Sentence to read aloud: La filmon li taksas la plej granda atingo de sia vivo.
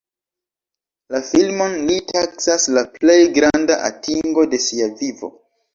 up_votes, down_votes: 2, 0